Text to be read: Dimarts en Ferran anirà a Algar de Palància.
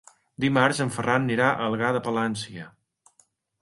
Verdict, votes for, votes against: rejected, 0, 2